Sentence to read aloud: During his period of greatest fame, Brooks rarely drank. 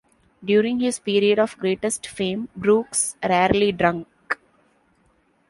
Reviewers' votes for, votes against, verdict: 2, 0, accepted